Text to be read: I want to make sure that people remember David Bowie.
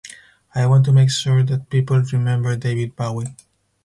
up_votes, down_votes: 4, 0